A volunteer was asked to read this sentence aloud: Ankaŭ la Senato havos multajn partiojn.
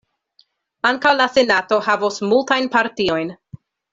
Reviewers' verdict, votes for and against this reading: accepted, 2, 0